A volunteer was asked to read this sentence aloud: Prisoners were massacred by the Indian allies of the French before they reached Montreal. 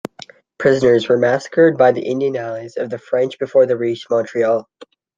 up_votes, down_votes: 2, 0